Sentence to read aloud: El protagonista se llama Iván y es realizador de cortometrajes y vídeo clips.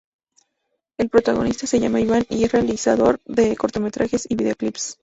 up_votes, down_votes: 2, 0